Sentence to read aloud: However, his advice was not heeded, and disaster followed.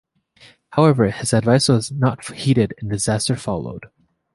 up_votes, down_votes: 1, 2